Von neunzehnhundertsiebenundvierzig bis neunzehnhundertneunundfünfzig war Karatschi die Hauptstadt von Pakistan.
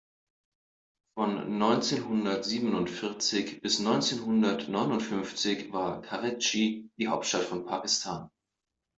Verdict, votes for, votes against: rejected, 1, 2